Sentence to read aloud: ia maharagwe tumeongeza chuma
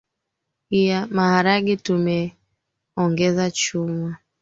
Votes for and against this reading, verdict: 2, 4, rejected